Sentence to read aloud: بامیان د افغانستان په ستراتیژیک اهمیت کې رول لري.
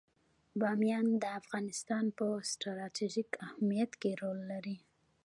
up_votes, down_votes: 1, 2